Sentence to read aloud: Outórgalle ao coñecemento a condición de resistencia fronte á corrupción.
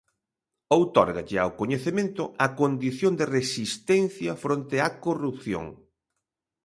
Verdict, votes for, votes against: accepted, 2, 0